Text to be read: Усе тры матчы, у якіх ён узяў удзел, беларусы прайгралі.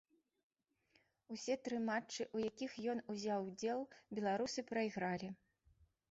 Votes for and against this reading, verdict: 2, 0, accepted